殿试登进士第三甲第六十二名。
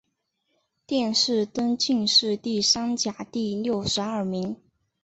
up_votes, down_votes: 2, 0